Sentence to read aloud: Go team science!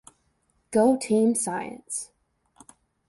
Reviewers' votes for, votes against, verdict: 2, 0, accepted